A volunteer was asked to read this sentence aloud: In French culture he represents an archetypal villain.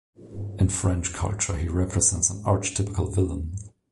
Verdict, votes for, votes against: rejected, 0, 2